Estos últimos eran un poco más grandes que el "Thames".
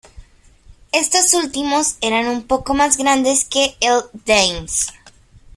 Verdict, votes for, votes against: accepted, 2, 1